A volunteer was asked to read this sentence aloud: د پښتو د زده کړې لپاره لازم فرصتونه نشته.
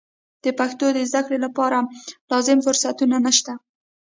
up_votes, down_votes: 1, 2